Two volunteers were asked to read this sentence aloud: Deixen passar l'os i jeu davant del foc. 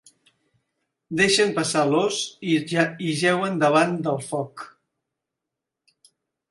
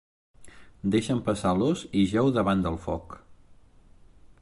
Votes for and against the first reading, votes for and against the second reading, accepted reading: 0, 2, 2, 0, second